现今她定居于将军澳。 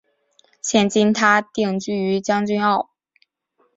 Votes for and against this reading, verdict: 0, 2, rejected